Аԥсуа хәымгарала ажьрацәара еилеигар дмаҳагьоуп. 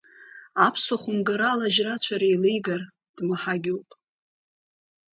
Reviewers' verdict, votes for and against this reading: rejected, 1, 2